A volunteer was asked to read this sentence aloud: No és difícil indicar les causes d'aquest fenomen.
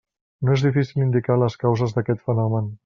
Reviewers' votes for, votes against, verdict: 3, 0, accepted